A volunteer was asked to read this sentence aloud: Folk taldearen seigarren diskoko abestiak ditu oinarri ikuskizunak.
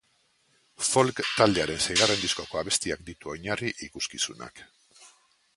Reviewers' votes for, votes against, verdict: 1, 2, rejected